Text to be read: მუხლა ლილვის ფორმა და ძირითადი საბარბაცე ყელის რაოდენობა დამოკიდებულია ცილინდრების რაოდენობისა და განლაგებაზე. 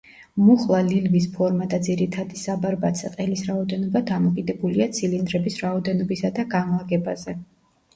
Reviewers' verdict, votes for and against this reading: accepted, 2, 1